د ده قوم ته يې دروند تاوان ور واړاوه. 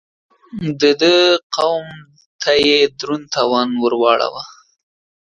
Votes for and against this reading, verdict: 2, 0, accepted